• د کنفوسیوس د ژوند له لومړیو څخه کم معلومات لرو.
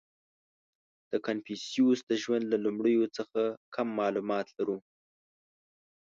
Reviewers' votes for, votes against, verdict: 2, 0, accepted